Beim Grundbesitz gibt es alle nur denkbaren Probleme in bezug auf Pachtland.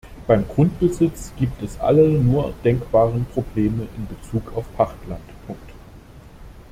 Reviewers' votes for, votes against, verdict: 1, 2, rejected